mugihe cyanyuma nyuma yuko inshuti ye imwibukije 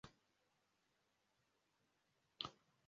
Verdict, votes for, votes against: rejected, 0, 2